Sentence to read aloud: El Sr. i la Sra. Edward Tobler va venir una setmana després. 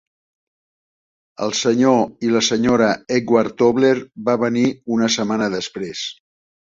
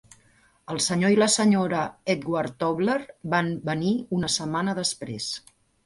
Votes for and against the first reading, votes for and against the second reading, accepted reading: 2, 0, 1, 2, first